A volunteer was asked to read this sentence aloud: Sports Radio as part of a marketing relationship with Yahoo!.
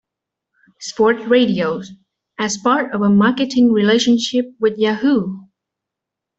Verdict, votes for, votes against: accepted, 2, 1